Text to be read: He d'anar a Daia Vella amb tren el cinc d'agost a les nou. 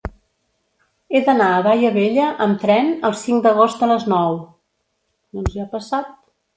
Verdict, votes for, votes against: rejected, 0, 3